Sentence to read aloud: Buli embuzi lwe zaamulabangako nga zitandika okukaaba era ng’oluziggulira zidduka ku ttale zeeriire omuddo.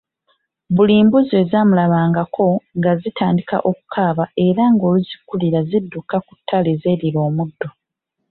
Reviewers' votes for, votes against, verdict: 0, 2, rejected